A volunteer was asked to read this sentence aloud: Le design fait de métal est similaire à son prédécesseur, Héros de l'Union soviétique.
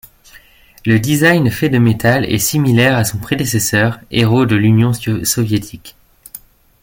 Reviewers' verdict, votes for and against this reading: rejected, 1, 2